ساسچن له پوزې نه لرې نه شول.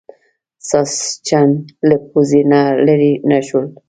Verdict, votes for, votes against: accepted, 2, 0